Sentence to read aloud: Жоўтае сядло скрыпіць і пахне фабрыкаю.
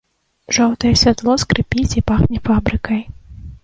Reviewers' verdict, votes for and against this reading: rejected, 0, 2